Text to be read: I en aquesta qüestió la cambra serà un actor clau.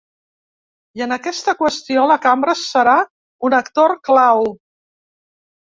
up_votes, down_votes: 3, 0